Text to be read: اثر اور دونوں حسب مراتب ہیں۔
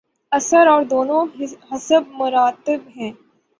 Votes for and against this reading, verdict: 3, 3, rejected